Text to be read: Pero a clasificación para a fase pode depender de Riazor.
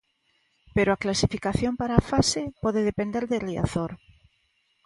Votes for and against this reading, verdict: 2, 0, accepted